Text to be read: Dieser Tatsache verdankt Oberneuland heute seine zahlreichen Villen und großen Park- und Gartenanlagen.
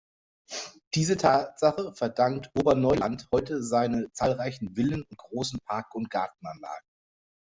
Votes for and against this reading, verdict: 1, 2, rejected